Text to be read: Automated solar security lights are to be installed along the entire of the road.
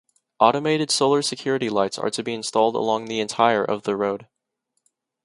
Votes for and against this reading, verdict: 2, 0, accepted